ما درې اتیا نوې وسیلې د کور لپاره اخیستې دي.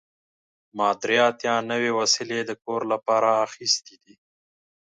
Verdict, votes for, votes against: accepted, 2, 0